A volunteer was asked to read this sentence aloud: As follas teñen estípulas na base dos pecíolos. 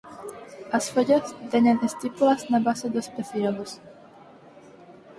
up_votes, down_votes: 4, 0